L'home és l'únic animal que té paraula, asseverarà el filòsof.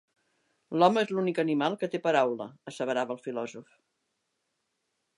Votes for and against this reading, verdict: 0, 2, rejected